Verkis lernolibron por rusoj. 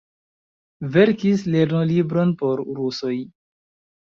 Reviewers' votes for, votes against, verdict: 2, 0, accepted